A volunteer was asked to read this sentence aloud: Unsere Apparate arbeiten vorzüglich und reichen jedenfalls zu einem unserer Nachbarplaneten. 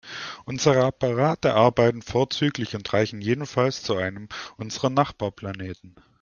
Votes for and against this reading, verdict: 2, 0, accepted